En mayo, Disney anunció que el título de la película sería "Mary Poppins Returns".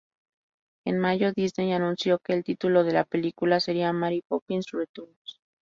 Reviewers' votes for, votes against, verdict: 4, 0, accepted